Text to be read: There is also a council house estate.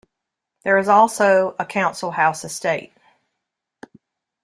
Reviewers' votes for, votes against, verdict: 2, 0, accepted